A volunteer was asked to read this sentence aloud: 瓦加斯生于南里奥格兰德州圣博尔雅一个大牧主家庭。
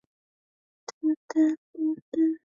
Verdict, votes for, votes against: rejected, 0, 3